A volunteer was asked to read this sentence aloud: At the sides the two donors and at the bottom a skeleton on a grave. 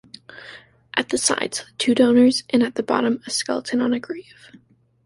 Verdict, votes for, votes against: rejected, 0, 2